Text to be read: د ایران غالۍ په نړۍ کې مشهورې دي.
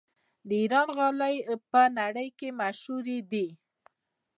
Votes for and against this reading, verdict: 1, 2, rejected